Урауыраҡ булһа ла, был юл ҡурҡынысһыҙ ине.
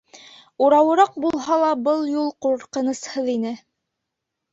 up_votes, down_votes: 4, 0